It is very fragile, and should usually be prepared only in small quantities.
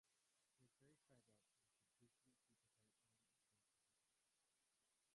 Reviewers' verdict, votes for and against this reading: rejected, 0, 4